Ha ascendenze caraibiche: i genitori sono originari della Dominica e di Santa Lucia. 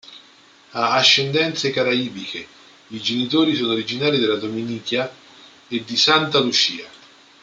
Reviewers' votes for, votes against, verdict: 0, 2, rejected